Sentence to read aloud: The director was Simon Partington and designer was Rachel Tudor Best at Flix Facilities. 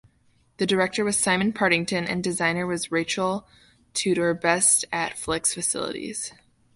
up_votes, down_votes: 2, 0